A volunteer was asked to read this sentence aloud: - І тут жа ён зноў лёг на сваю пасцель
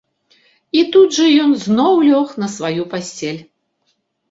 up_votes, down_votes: 2, 0